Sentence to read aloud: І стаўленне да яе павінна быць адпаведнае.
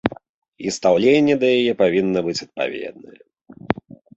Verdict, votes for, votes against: rejected, 2, 3